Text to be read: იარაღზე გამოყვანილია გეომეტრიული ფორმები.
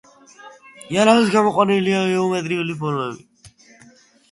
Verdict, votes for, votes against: rejected, 1, 2